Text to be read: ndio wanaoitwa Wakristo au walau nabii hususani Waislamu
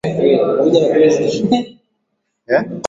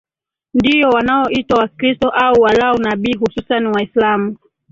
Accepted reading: second